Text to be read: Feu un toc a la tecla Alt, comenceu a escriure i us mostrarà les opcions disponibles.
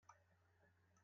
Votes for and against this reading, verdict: 0, 2, rejected